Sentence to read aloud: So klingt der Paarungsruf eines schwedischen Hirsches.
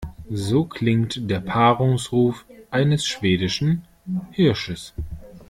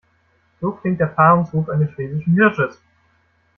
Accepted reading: first